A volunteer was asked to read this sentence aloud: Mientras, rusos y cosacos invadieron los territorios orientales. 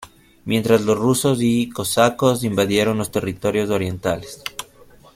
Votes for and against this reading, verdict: 0, 2, rejected